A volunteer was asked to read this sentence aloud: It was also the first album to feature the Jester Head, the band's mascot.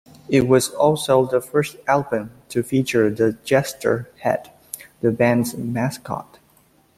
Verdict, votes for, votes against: accepted, 2, 0